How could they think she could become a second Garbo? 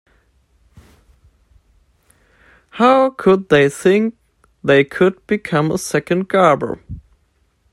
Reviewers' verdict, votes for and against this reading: rejected, 0, 2